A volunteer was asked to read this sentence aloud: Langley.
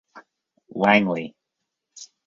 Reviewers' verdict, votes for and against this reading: rejected, 0, 2